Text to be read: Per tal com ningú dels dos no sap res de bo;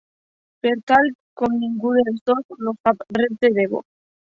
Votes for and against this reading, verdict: 1, 2, rejected